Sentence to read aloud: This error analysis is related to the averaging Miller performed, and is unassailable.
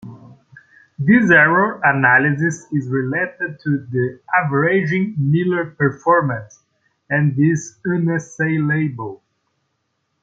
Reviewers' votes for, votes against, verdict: 1, 2, rejected